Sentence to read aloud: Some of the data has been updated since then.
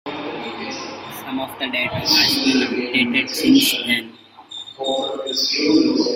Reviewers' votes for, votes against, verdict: 1, 2, rejected